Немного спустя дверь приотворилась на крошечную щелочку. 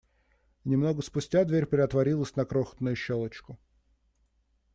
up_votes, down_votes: 2, 1